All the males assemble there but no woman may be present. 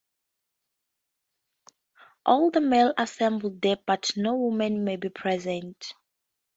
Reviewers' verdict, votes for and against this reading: accepted, 2, 0